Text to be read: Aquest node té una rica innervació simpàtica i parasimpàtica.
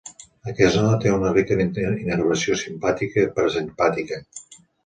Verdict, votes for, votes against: rejected, 0, 2